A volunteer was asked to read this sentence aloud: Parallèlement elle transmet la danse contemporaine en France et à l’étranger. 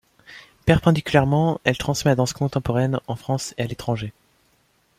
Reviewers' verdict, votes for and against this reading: rejected, 0, 2